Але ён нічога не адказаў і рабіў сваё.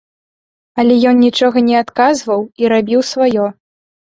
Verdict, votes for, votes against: rejected, 0, 2